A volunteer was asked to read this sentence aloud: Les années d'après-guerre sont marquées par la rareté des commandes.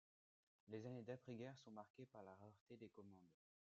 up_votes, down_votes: 0, 2